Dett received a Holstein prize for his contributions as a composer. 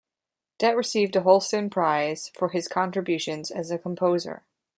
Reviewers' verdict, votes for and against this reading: accepted, 2, 0